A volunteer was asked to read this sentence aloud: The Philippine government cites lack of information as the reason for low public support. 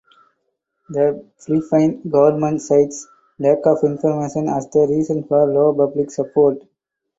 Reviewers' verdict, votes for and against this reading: rejected, 2, 4